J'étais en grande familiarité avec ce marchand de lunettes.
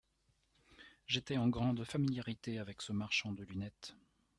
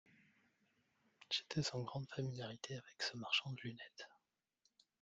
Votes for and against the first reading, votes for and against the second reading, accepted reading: 2, 1, 1, 2, first